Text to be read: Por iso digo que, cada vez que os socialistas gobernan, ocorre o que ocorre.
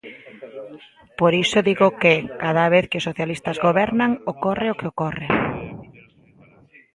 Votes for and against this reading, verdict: 2, 0, accepted